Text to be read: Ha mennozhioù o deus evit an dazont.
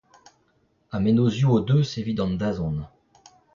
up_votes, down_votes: 0, 2